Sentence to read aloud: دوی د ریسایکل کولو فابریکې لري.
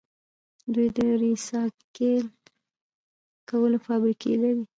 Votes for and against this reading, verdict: 0, 2, rejected